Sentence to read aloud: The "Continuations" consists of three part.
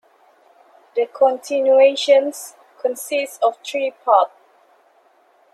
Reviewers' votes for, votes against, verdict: 1, 2, rejected